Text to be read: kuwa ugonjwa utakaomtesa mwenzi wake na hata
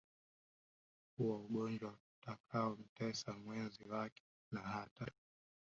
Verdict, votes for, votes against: accepted, 2, 1